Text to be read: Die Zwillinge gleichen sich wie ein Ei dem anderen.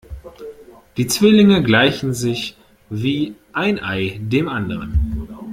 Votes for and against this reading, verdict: 2, 0, accepted